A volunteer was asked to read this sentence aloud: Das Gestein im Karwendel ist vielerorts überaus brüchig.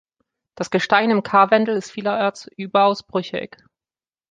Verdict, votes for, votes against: rejected, 0, 2